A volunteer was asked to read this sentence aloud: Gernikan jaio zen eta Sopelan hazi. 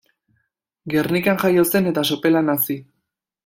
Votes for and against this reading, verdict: 2, 0, accepted